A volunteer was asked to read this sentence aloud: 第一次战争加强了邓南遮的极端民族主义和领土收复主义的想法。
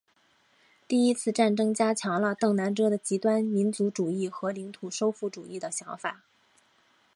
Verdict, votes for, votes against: accepted, 2, 0